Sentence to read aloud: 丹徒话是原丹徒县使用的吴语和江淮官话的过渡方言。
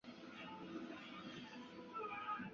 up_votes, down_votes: 1, 7